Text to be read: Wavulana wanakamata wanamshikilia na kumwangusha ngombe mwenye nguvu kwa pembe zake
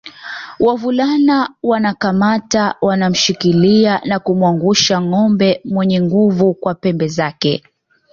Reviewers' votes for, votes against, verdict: 2, 0, accepted